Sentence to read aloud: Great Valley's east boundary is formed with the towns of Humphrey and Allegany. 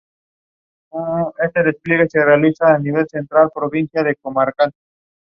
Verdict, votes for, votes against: rejected, 0, 2